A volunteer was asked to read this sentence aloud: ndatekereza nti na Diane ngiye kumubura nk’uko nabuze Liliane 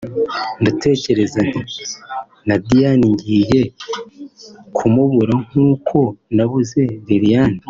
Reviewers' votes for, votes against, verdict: 2, 0, accepted